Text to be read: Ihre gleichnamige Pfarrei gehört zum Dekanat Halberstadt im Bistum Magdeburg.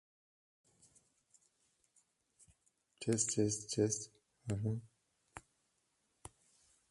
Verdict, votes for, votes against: rejected, 0, 2